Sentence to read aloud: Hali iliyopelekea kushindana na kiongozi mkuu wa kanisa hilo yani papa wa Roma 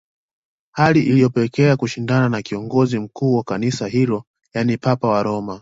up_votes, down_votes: 2, 0